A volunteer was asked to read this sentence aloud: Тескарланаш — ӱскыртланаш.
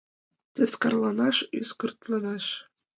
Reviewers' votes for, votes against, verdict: 2, 1, accepted